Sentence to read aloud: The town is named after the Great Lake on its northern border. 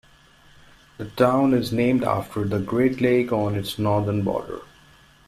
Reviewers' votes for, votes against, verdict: 2, 0, accepted